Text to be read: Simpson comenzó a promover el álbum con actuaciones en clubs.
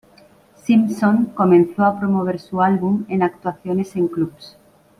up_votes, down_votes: 1, 2